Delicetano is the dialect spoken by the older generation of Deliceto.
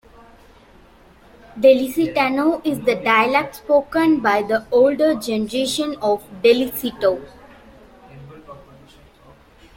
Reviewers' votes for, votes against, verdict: 2, 1, accepted